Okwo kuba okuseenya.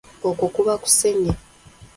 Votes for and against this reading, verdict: 1, 2, rejected